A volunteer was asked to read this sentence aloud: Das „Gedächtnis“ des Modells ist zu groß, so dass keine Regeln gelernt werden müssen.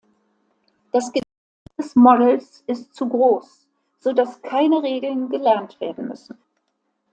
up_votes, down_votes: 0, 2